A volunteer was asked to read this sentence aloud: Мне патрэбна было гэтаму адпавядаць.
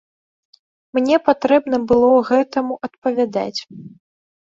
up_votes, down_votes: 2, 0